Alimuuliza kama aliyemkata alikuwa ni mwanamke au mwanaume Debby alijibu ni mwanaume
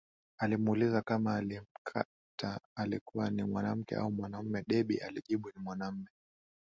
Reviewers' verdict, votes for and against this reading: accepted, 8, 3